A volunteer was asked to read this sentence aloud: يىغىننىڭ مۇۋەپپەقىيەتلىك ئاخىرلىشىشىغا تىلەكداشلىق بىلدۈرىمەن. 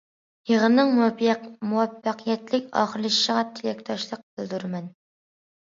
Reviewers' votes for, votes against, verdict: 2, 1, accepted